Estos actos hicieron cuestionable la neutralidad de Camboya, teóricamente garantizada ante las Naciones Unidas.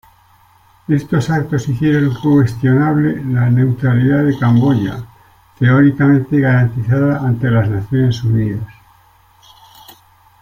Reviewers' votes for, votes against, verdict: 2, 0, accepted